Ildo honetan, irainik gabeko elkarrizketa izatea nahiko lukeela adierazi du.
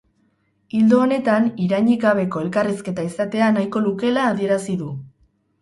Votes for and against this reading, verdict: 2, 2, rejected